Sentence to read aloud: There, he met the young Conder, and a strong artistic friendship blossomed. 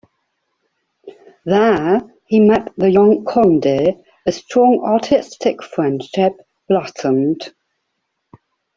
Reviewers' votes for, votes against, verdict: 0, 2, rejected